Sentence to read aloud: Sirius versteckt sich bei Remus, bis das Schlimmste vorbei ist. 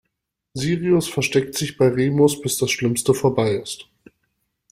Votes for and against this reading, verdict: 2, 0, accepted